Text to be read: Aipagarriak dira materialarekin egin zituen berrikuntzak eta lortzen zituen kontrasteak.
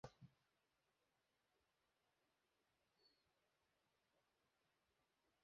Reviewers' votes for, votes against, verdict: 0, 2, rejected